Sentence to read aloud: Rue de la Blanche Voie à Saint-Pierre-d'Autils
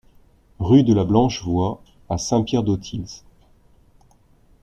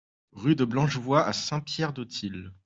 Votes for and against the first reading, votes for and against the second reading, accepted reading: 2, 0, 0, 3, first